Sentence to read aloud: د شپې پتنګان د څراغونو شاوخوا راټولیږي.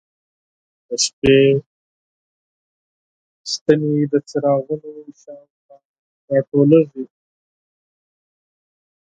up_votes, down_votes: 0, 4